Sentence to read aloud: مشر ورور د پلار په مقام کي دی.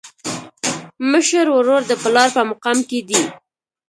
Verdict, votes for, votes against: accepted, 2, 1